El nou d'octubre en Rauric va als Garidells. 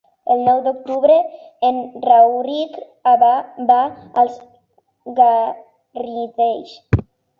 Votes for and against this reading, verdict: 0, 3, rejected